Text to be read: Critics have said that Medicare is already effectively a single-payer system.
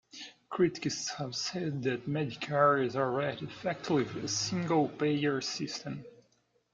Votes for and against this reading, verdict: 1, 2, rejected